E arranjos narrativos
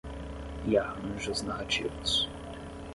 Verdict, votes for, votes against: rejected, 5, 5